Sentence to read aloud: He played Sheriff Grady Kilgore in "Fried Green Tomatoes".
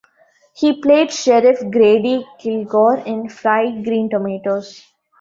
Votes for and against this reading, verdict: 2, 0, accepted